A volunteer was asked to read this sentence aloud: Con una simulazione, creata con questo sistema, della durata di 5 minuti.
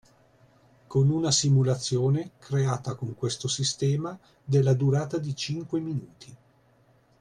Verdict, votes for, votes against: rejected, 0, 2